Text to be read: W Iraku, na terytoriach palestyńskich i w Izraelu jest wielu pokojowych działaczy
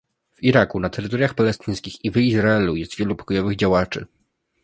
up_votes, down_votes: 1, 2